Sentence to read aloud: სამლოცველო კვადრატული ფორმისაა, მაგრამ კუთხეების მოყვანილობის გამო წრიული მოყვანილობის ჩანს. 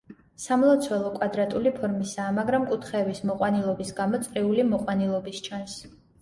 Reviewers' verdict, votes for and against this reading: accepted, 2, 0